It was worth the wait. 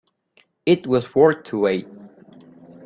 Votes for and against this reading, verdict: 1, 2, rejected